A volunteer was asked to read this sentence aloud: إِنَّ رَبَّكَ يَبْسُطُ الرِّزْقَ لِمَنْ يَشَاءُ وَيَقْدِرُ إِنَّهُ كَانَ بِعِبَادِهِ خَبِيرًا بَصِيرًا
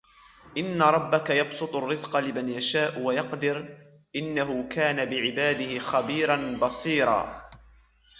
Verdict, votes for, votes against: accepted, 2, 0